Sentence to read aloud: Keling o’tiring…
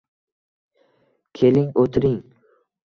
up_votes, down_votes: 2, 0